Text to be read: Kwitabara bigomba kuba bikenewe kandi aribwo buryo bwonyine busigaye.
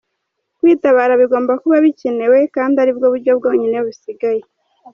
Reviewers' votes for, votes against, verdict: 2, 0, accepted